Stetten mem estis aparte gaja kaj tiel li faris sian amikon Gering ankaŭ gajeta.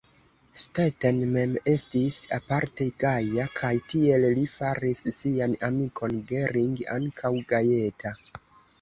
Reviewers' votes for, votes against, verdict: 2, 3, rejected